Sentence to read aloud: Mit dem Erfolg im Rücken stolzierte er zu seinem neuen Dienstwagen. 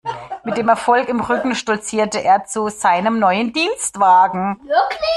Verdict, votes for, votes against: rejected, 1, 2